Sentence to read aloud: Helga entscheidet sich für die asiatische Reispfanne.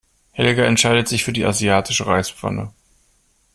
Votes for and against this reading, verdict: 2, 0, accepted